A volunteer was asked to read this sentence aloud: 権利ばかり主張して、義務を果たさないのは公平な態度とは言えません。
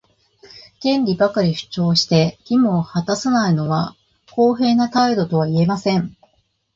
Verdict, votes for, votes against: accepted, 2, 0